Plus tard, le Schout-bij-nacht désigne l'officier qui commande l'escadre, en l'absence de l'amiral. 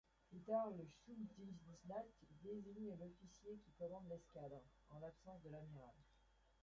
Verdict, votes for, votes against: rejected, 0, 3